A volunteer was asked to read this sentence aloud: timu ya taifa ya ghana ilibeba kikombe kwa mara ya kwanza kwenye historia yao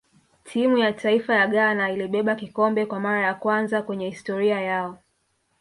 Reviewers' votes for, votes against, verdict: 0, 2, rejected